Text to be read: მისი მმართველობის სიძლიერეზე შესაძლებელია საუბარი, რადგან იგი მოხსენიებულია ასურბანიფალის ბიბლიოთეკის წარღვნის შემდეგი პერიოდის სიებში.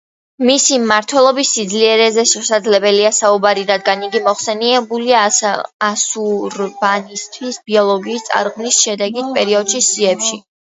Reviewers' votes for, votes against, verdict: 2, 1, accepted